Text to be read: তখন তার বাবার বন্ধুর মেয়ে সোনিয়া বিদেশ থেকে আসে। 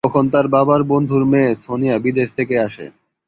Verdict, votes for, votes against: rejected, 0, 2